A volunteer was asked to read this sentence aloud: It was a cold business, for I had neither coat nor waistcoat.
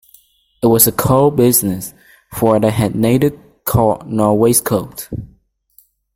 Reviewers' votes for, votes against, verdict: 1, 2, rejected